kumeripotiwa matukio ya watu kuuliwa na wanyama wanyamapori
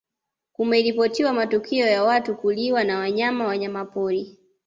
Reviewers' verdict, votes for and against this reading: accepted, 2, 0